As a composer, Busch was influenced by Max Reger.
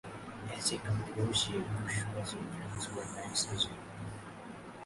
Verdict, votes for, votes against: rejected, 0, 2